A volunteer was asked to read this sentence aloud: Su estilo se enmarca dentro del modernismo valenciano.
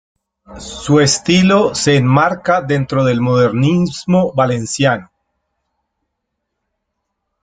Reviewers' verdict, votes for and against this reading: rejected, 1, 2